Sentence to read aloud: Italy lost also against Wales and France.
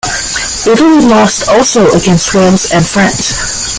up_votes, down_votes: 2, 1